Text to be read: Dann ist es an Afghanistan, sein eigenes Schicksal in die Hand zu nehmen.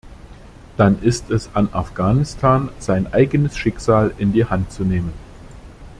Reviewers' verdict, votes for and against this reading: accepted, 2, 0